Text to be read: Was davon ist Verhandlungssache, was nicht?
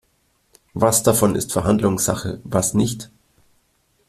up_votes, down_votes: 2, 0